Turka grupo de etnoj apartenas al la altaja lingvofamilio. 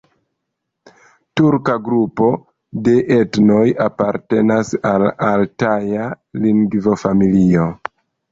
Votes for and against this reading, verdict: 1, 2, rejected